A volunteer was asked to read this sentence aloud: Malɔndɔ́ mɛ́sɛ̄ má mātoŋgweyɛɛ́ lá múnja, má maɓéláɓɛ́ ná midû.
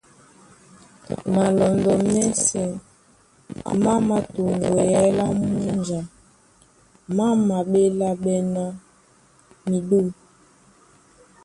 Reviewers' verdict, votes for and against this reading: rejected, 1, 2